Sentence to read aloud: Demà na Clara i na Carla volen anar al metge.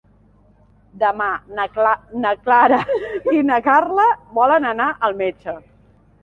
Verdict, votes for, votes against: rejected, 1, 4